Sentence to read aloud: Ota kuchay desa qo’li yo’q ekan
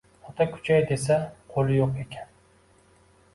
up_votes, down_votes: 2, 1